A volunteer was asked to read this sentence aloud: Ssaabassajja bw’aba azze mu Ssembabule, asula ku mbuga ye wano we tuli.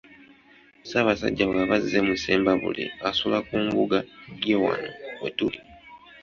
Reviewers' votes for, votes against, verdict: 2, 1, accepted